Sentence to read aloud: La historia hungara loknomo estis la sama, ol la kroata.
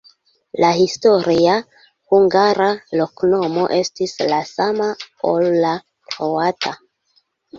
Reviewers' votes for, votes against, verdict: 0, 2, rejected